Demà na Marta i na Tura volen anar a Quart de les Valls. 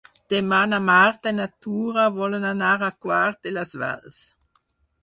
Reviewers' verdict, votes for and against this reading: accepted, 6, 2